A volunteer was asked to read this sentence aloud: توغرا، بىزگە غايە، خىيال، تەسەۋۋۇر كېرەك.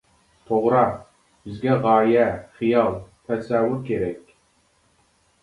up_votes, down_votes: 0, 2